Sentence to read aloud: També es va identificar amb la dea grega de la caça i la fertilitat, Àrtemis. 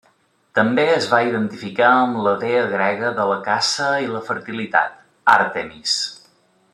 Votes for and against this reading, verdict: 2, 0, accepted